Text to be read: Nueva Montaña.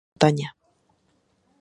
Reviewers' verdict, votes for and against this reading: rejected, 0, 2